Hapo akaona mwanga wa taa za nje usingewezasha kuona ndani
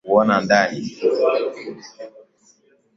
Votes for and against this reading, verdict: 3, 15, rejected